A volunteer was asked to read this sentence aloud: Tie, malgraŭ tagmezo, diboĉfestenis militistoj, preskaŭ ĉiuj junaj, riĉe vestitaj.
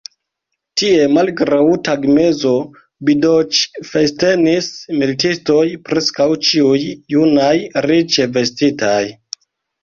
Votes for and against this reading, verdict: 0, 2, rejected